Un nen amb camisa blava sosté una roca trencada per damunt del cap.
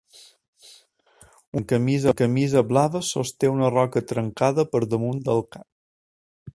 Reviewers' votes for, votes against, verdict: 0, 2, rejected